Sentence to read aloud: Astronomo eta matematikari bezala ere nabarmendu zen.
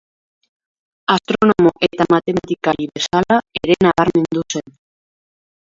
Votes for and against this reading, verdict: 0, 2, rejected